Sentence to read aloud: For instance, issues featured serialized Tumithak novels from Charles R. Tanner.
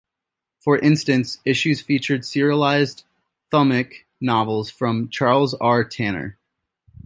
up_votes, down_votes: 1, 2